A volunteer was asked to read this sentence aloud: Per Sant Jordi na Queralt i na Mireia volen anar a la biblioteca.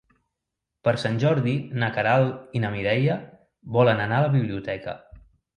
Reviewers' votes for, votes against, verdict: 2, 0, accepted